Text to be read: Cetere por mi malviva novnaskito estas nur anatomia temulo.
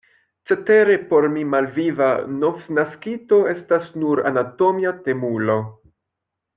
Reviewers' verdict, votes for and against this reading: accepted, 2, 1